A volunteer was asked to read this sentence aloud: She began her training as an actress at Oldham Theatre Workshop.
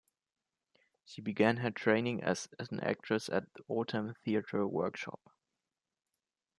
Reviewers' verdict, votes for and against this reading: rejected, 0, 2